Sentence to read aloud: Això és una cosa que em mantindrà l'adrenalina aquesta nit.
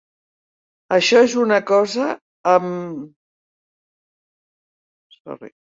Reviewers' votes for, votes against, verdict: 0, 2, rejected